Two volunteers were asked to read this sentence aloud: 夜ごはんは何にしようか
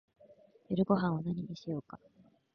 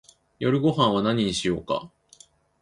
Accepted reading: second